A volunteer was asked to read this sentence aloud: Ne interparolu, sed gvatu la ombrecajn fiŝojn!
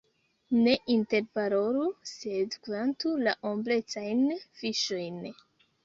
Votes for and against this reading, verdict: 1, 2, rejected